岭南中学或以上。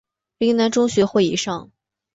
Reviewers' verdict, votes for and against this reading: accepted, 3, 0